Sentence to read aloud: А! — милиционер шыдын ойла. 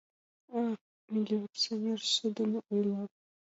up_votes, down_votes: 2, 1